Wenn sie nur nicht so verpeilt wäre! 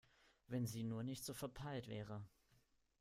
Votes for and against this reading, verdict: 2, 0, accepted